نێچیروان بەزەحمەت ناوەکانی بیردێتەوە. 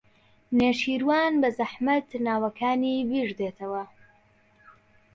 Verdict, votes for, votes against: accepted, 2, 0